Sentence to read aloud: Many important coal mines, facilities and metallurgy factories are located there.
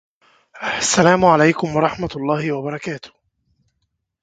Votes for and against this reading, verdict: 0, 2, rejected